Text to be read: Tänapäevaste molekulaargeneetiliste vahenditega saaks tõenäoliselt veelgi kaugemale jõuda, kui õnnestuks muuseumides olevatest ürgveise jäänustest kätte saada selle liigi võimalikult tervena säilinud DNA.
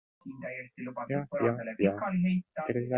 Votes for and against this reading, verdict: 0, 2, rejected